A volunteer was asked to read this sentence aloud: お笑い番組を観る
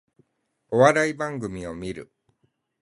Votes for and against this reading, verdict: 8, 0, accepted